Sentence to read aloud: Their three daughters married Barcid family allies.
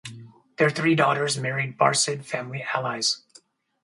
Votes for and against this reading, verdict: 2, 0, accepted